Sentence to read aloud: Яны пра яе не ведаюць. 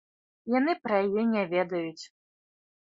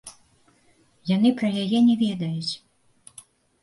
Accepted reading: first